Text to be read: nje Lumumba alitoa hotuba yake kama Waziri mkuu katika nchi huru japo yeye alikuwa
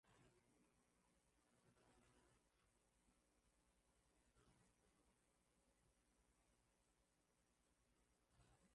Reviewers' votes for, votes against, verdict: 0, 2, rejected